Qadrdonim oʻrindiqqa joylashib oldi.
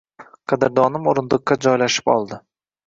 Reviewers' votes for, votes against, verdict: 2, 0, accepted